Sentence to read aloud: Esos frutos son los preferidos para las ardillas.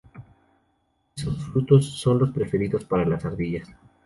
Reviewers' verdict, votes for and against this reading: rejected, 0, 2